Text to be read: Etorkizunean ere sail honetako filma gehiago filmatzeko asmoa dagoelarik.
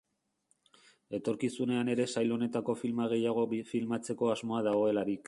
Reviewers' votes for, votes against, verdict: 1, 3, rejected